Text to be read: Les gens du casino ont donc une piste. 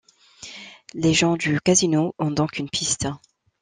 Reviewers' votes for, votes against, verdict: 2, 0, accepted